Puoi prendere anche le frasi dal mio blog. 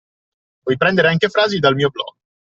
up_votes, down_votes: 2, 0